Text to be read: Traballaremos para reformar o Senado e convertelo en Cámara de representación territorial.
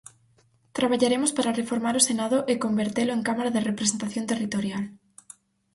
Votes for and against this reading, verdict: 4, 0, accepted